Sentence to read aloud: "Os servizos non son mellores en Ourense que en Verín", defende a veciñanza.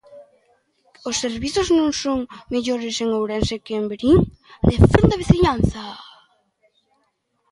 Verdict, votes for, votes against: accepted, 2, 1